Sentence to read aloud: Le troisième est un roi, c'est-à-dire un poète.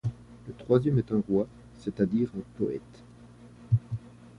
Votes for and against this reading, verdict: 0, 2, rejected